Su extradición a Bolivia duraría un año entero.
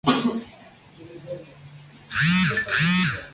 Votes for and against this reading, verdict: 0, 4, rejected